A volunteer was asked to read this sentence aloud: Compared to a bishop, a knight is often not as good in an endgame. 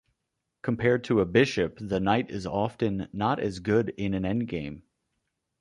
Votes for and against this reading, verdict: 0, 2, rejected